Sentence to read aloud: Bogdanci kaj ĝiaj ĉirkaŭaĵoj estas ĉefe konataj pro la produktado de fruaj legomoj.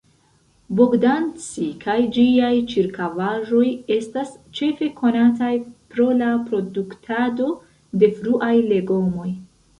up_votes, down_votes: 1, 2